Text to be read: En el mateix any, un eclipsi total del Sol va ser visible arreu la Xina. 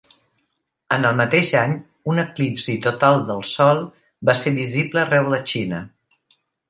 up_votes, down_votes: 2, 0